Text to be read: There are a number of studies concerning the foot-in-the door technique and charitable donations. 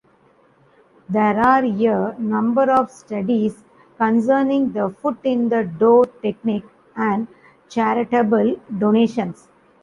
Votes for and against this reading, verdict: 1, 2, rejected